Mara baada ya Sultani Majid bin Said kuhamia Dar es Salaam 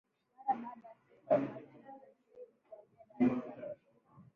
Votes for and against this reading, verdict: 0, 3, rejected